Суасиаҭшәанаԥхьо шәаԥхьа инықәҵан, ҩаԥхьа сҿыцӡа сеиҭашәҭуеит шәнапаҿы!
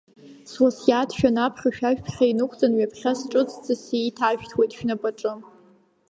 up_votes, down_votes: 1, 2